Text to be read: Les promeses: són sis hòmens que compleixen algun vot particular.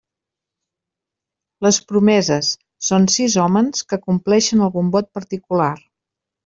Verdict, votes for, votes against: accepted, 2, 0